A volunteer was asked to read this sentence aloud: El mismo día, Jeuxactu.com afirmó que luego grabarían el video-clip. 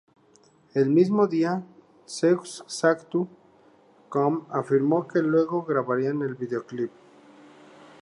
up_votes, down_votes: 0, 2